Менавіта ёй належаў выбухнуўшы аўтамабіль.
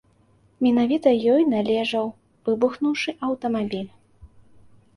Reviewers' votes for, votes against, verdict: 2, 0, accepted